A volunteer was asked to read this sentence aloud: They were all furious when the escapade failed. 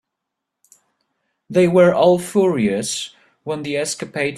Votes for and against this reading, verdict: 0, 2, rejected